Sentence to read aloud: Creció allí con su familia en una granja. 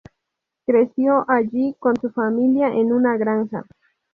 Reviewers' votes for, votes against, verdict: 4, 0, accepted